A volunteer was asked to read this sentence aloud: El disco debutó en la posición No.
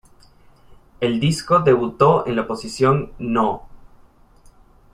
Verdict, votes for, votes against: accepted, 2, 0